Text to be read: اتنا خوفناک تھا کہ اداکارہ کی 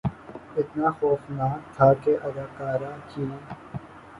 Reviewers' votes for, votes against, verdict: 2, 2, rejected